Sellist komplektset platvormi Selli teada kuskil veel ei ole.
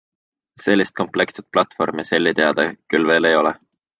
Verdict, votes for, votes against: accepted, 2, 0